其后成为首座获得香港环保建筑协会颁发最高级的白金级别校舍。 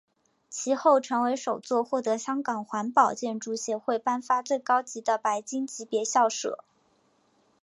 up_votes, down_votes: 1, 2